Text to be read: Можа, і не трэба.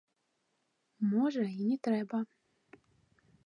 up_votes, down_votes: 2, 0